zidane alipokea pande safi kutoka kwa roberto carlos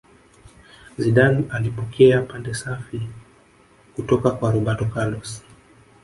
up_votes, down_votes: 1, 2